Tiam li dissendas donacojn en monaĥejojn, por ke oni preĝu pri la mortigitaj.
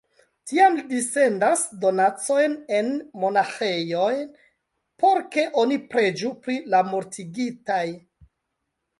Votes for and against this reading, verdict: 0, 2, rejected